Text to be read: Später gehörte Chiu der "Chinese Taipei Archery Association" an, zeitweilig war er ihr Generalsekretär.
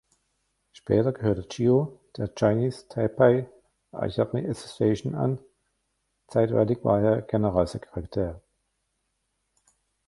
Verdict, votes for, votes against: rejected, 0, 2